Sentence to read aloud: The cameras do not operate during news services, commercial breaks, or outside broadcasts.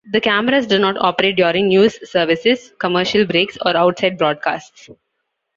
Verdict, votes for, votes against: accepted, 3, 0